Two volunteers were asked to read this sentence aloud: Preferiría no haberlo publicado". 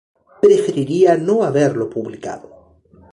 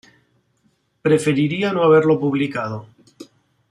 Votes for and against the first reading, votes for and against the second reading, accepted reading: 2, 0, 1, 2, first